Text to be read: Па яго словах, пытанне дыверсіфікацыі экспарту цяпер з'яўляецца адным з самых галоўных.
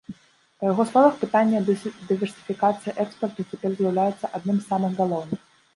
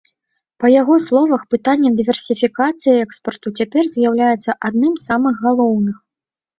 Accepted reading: second